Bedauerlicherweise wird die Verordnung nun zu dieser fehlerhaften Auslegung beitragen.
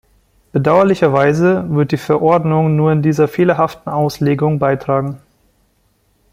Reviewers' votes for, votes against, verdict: 0, 2, rejected